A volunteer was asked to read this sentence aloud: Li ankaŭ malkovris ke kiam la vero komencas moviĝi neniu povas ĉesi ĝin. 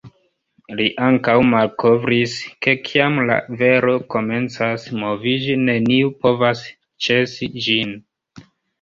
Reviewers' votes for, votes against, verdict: 0, 2, rejected